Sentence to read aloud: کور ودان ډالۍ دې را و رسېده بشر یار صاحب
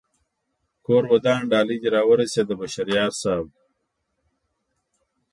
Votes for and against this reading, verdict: 2, 0, accepted